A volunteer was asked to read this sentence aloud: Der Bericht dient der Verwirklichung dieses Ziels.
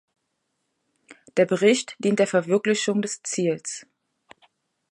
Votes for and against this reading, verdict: 0, 2, rejected